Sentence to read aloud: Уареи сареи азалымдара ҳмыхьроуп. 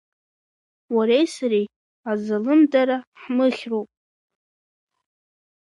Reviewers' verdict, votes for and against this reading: accepted, 2, 1